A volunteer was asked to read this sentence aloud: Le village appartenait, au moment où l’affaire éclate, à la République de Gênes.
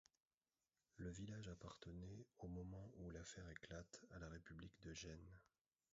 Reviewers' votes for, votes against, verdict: 0, 2, rejected